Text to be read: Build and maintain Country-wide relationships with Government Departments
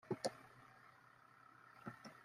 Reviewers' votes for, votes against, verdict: 0, 2, rejected